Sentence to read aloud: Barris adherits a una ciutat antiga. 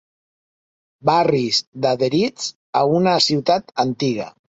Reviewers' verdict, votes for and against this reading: rejected, 1, 2